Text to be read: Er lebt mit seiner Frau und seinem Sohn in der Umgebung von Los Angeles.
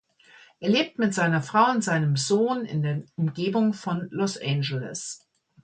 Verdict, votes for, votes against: rejected, 1, 2